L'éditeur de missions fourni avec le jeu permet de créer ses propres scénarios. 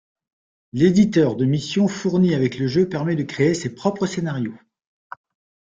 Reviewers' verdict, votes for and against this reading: accepted, 2, 0